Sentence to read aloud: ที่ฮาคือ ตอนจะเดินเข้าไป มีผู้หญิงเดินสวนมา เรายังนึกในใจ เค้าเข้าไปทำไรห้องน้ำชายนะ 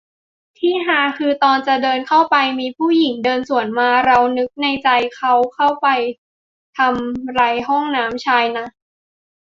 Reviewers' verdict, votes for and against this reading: rejected, 0, 3